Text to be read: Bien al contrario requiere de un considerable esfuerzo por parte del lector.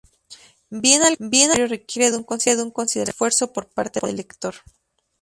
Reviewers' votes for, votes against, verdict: 0, 4, rejected